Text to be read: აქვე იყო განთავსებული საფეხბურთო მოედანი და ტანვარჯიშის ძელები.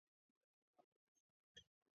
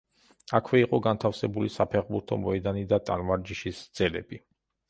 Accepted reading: second